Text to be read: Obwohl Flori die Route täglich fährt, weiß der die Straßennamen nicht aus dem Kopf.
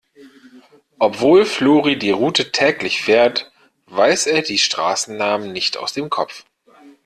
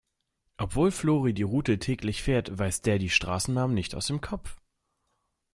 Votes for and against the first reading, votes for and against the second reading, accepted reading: 0, 2, 2, 0, second